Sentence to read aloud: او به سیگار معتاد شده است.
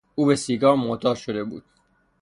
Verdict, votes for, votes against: rejected, 0, 3